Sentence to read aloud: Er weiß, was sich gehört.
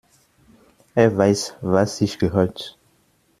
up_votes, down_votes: 2, 0